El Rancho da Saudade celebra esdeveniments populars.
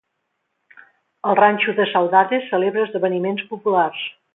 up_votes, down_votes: 2, 0